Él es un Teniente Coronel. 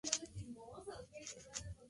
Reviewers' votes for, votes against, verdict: 0, 2, rejected